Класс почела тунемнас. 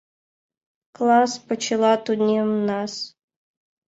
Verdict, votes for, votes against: accepted, 2, 0